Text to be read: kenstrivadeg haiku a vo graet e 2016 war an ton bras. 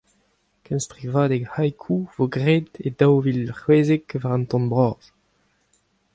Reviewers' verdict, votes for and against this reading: rejected, 0, 2